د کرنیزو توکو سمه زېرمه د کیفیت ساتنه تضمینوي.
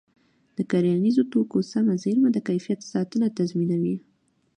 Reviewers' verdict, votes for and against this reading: accepted, 2, 0